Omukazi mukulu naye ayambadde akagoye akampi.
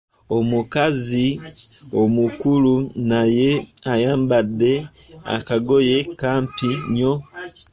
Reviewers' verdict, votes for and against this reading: rejected, 0, 2